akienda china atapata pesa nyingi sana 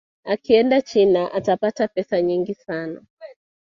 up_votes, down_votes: 2, 0